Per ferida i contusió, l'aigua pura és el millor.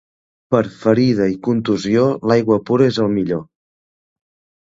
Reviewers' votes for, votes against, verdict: 3, 0, accepted